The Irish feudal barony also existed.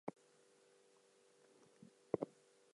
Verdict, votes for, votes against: accepted, 2, 0